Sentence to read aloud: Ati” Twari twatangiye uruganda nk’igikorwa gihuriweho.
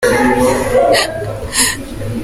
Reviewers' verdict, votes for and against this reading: rejected, 0, 3